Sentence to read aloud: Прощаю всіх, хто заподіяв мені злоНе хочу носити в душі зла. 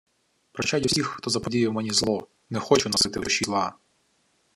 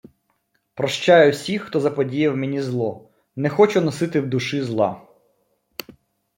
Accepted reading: second